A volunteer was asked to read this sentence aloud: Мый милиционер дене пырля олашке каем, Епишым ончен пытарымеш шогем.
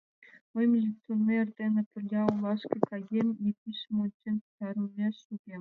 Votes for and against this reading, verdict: 1, 2, rejected